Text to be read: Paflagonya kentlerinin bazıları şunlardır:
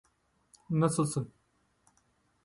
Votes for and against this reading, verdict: 0, 2, rejected